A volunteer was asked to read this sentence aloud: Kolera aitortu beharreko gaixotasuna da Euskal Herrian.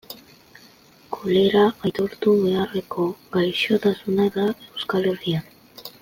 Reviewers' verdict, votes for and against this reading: accepted, 2, 0